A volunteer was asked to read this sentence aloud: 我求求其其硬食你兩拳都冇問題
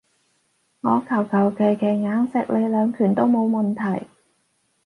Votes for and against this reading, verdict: 4, 0, accepted